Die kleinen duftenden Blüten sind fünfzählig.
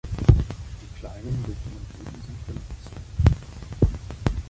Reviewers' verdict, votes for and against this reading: rejected, 0, 4